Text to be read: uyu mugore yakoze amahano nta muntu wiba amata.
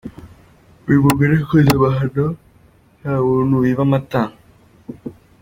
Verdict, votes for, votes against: accepted, 2, 0